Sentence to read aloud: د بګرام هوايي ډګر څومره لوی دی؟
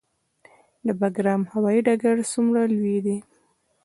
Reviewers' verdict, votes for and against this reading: rejected, 1, 2